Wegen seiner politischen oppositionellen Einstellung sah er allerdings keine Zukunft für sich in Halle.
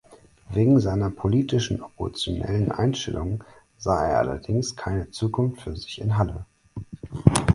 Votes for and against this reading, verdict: 2, 4, rejected